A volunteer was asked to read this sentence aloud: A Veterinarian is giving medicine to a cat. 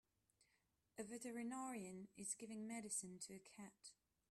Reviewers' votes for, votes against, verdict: 1, 2, rejected